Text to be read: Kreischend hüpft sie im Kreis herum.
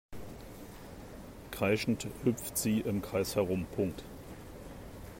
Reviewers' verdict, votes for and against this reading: accepted, 2, 0